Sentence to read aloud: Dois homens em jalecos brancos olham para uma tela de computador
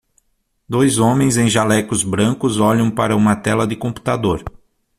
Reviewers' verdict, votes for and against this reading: accepted, 6, 0